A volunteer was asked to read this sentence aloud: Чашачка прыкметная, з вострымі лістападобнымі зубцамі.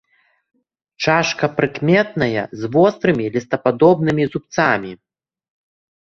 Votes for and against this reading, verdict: 0, 2, rejected